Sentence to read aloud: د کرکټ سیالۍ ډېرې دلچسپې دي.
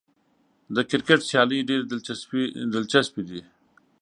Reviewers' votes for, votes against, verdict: 1, 2, rejected